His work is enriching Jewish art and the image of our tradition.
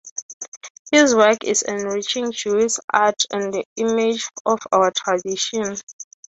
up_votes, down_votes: 3, 0